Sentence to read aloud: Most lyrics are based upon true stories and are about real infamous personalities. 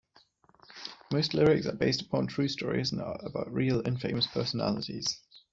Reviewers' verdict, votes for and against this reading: rejected, 0, 2